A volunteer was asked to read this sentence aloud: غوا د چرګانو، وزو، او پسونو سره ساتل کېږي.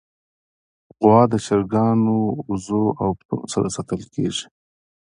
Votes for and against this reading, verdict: 2, 0, accepted